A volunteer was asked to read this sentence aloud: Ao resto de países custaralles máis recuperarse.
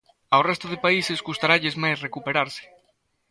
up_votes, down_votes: 1, 2